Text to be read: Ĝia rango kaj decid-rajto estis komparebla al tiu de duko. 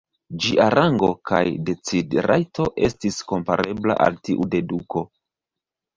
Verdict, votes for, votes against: rejected, 2, 3